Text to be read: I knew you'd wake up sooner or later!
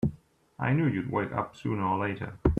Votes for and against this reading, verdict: 2, 0, accepted